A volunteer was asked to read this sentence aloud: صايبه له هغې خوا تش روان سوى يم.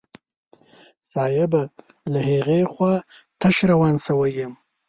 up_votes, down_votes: 1, 2